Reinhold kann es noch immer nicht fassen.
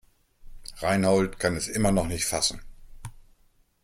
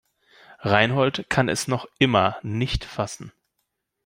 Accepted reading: second